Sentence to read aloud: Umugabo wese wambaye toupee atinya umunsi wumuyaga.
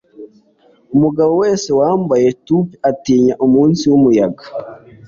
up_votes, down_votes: 3, 0